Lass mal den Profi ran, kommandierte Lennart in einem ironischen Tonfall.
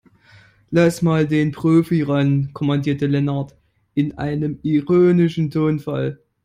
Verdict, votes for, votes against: rejected, 1, 2